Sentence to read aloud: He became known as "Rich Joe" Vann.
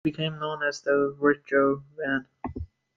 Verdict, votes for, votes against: rejected, 1, 2